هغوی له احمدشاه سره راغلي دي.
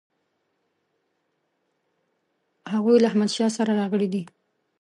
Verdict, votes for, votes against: accepted, 2, 1